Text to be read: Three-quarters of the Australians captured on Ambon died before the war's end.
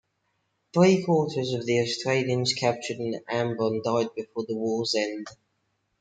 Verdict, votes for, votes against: accepted, 2, 0